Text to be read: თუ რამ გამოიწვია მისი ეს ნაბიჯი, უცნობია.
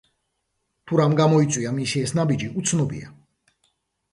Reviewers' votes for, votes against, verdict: 2, 0, accepted